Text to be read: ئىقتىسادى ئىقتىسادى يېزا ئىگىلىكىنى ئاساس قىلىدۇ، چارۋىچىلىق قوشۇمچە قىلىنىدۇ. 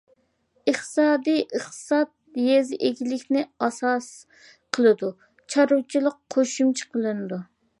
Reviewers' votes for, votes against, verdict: 0, 2, rejected